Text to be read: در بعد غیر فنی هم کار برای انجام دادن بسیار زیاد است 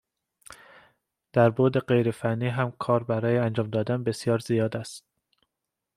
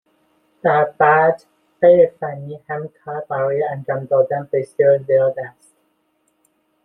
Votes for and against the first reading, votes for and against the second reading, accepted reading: 2, 0, 0, 2, first